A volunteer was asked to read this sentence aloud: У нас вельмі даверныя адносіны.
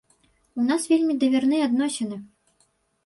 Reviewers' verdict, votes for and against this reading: rejected, 1, 2